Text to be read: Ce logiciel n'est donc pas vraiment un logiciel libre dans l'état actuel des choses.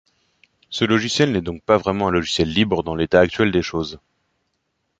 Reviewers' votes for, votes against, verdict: 2, 0, accepted